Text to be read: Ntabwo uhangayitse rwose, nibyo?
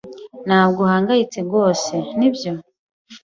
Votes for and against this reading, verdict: 2, 0, accepted